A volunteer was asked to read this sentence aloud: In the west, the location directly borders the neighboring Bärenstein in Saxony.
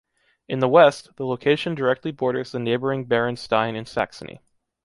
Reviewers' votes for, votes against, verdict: 2, 0, accepted